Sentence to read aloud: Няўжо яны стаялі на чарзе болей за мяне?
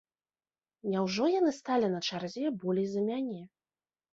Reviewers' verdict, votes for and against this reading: rejected, 1, 2